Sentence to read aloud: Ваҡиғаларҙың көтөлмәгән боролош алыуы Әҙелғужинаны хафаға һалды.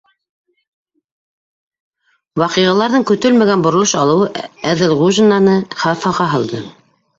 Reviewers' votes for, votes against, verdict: 0, 2, rejected